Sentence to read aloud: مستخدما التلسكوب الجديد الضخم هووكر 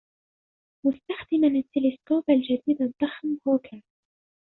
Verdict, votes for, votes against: rejected, 0, 2